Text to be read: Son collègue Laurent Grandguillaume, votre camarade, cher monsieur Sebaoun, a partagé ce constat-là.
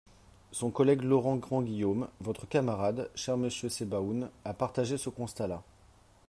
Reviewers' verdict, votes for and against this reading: accepted, 4, 1